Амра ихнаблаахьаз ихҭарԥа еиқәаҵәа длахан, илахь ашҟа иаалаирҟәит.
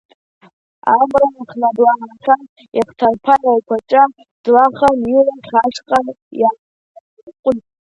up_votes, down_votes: 0, 2